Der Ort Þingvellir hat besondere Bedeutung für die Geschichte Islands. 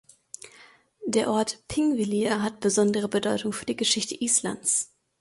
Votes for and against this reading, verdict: 2, 0, accepted